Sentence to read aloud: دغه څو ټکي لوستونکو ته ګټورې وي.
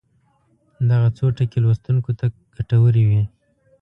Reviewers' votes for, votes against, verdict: 2, 0, accepted